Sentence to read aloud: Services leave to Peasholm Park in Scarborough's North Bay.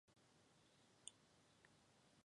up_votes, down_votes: 0, 2